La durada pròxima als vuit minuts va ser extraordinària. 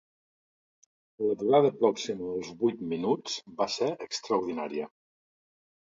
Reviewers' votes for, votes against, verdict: 1, 2, rejected